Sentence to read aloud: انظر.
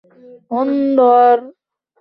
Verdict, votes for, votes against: rejected, 0, 2